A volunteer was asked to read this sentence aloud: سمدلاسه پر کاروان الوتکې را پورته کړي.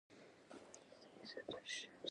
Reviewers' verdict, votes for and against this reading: rejected, 0, 2